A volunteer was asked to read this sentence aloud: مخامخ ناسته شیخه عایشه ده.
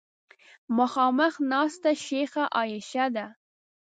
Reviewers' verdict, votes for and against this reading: rejected, 0, 2